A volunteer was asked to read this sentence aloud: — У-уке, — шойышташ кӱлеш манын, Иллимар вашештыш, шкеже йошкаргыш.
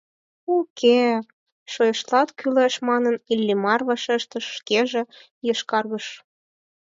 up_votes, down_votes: 4, 0